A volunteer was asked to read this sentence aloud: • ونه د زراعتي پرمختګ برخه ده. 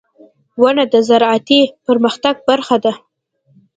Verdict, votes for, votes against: accepted, 2, 0